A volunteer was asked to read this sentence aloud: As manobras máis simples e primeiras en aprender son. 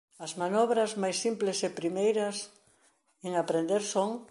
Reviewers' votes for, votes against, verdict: 2, 0, accepted